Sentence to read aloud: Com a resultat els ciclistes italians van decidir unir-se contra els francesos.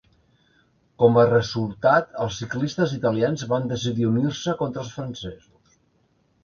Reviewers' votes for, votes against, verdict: 2, 0, accepted